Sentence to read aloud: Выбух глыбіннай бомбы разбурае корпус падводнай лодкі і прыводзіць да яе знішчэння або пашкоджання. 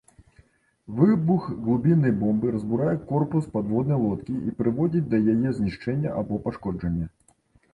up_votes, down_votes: 1, 2